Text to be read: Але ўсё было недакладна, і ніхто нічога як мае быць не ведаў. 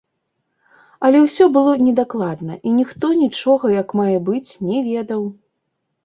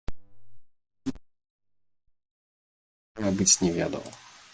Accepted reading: first